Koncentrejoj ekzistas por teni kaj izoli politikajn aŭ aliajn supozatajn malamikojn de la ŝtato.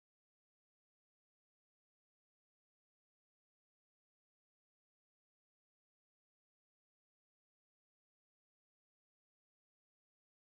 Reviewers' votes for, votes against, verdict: 0, 2, rejected